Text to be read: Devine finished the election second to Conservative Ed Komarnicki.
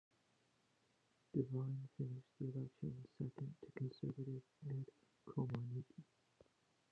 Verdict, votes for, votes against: rejected, 0, 2